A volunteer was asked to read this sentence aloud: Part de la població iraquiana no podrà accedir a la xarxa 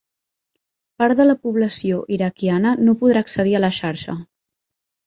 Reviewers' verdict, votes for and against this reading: accepted, 3, 0